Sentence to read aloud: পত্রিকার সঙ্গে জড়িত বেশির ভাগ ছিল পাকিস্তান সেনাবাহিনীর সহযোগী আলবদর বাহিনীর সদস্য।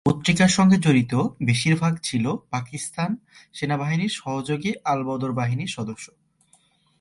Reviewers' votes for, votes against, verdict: 2, 0, accepted